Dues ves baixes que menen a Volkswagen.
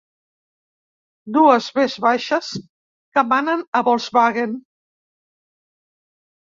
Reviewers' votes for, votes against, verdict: 1, 2, rejected